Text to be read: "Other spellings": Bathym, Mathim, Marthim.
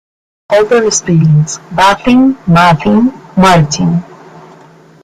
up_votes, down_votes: 1, 2